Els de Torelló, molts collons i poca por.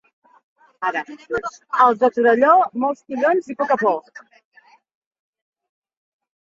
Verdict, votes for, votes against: rejected, 0, 2